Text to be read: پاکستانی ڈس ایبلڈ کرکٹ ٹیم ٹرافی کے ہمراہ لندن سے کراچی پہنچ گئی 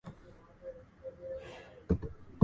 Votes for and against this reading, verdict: 0, 2, rejected